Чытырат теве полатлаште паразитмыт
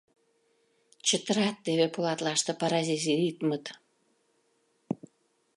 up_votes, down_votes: 0, 2